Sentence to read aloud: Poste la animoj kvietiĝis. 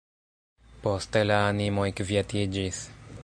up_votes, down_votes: 0, 2